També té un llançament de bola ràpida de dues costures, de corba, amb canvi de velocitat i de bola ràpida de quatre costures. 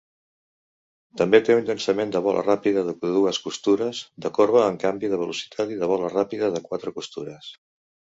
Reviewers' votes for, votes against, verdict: 2, 1, accepted